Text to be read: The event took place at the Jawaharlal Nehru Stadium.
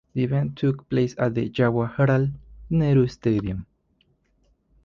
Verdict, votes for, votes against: accepted, 2, 0